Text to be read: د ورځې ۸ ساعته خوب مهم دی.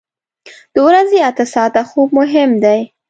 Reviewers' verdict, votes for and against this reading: rejected, 0, 2